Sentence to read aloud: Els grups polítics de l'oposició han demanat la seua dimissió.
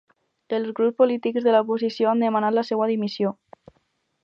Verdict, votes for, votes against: rejected, 2, 2